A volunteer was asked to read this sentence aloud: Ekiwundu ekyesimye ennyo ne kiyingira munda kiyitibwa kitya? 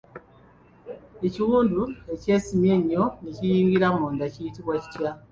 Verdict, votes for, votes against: accepted, 2, 1